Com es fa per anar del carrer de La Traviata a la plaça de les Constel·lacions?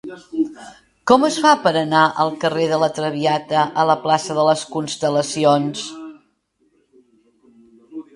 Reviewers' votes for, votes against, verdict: 1, 2, rejected